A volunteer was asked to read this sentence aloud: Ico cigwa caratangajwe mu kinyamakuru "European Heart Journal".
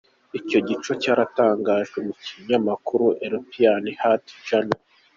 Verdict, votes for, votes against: accepted, 2, 0